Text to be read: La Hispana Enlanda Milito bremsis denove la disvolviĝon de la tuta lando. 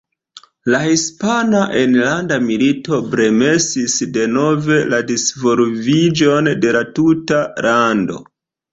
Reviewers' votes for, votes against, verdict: 2, 1, accepted